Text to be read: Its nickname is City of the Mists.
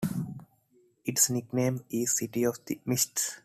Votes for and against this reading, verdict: 2, 0, accepted